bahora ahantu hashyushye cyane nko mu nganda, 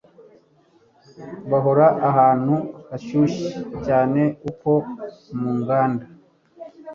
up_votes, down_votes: 1, 2